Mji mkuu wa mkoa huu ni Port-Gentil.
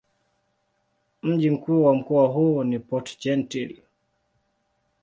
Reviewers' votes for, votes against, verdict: 2, 0, accepted